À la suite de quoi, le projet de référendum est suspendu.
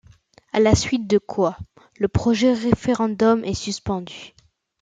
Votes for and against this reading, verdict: 0, 2, rejected